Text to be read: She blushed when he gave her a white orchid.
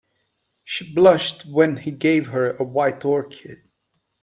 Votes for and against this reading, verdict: 2, 0, accepted